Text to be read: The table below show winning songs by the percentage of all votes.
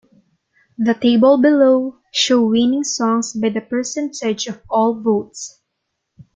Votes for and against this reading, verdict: 2, 0, accepted